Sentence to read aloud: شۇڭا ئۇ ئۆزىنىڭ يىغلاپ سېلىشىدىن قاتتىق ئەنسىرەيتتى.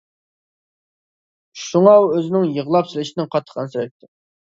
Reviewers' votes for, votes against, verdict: 2, 0, accepted